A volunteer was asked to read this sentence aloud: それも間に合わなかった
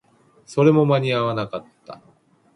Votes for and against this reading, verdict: 2, 0, accepted